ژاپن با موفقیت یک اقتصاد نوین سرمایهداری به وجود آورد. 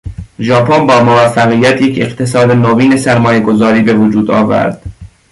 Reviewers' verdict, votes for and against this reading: rejected, 1, 2